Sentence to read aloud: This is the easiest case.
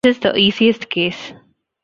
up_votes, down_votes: 0, 2